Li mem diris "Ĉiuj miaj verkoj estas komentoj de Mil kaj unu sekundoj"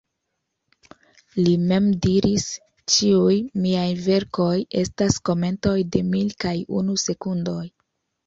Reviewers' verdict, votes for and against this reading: rejected, 1, 2